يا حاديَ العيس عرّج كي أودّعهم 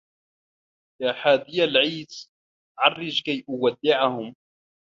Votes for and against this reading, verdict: 2, 0, accepted